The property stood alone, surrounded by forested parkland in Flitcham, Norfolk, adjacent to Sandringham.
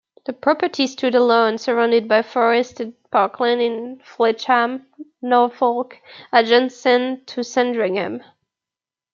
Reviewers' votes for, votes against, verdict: 0, 2, rejected